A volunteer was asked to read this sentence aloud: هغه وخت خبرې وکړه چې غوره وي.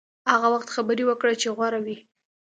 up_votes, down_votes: 2, 0